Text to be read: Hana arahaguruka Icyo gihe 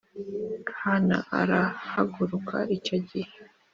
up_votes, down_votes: 2, 0